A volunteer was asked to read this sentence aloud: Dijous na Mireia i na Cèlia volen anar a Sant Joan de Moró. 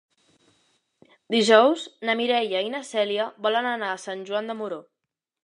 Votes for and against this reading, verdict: 2, 0, accepted